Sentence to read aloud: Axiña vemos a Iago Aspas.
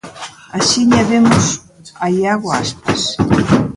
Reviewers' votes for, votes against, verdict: 1, 2, rejected